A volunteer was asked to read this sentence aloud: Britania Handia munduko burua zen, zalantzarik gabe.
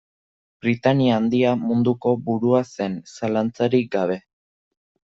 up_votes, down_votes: 2, 0